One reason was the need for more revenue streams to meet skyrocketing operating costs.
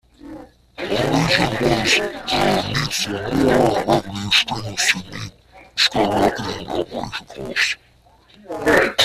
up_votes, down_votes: 0, 3